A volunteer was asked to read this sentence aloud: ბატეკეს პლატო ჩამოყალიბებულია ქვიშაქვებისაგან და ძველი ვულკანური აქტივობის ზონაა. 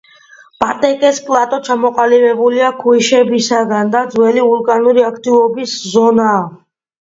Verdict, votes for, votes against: rejected, 1, 2